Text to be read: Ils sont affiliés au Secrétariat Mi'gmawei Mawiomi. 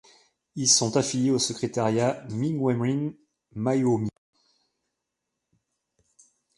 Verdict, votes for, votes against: rejected, 1, 2